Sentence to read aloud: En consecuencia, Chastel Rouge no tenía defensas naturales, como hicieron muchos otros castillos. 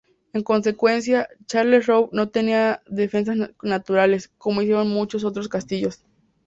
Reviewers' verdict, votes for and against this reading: rejected, 2, 2